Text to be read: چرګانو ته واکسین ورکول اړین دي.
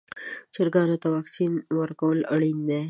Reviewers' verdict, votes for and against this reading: accepted, 2, 0